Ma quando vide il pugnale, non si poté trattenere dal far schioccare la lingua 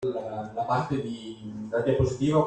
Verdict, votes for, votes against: rejected, 0, 2